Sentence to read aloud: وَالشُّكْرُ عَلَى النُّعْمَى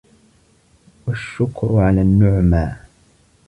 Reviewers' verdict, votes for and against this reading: rejected, 1, 2